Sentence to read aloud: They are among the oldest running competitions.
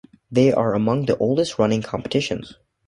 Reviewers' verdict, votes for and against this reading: accepted, 2, 0